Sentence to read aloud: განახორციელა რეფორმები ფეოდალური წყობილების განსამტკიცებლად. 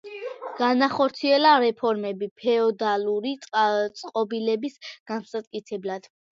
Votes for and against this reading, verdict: 1, 2, rejected